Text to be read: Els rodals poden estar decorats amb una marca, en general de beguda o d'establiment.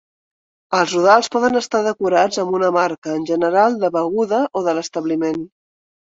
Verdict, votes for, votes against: rejected, 1, 2